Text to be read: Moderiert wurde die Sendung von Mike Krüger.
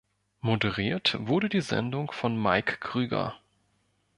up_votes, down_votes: 2, 0